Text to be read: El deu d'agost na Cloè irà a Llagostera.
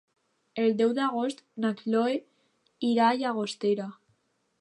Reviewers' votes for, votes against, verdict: 2, 1, accepted